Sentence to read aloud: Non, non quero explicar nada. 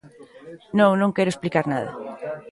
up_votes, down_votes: 2, 0